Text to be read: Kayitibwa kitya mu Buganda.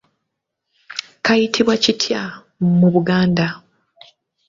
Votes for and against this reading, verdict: 1, 2, rejected